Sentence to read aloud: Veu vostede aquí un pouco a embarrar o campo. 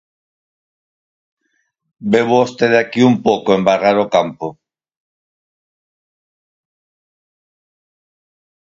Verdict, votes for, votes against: rejected, 0, 4